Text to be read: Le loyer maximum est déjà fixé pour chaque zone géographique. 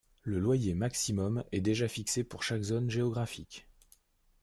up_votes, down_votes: 2, 0